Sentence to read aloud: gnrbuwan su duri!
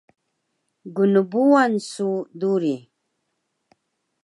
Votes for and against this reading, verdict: 2, 0, accepted